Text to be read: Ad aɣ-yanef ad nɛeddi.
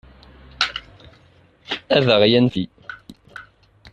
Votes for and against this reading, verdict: 0, 2, rejected